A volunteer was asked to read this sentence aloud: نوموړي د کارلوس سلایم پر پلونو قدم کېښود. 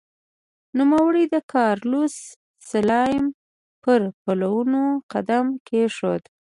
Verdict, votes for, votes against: accepted, 2, 0